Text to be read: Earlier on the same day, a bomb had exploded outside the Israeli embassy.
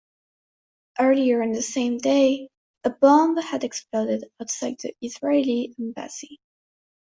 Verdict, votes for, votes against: accepted, 2, 0